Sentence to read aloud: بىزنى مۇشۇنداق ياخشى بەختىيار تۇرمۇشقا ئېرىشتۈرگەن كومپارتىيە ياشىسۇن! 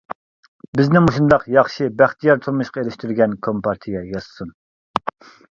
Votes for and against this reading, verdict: 0, 2, rejected